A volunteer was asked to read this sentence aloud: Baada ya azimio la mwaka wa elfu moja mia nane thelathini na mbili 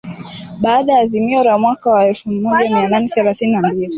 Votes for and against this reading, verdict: 1, 2, rejected